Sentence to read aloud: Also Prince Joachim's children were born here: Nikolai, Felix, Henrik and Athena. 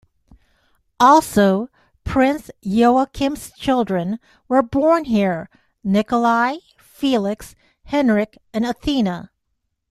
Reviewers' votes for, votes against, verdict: 2, 0, accepted